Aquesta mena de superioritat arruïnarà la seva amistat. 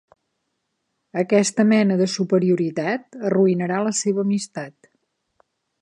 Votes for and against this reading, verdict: 3, 0, accepted